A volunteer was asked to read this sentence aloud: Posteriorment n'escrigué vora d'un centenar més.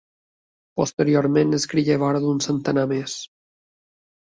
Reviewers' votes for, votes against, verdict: 4, 1, accepted